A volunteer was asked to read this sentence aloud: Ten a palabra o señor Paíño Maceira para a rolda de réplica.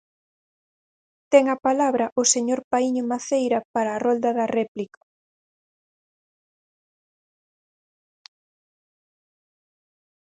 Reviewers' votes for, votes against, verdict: 0, 4, rejected